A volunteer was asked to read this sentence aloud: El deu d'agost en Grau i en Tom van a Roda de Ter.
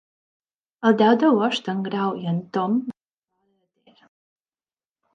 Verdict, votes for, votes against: rejected, 0, 2